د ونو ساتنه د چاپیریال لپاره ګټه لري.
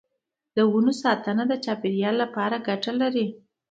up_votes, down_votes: 2, 0